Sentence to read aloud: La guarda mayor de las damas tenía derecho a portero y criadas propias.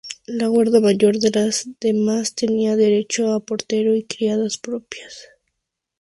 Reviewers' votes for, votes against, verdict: 0, 2, rejected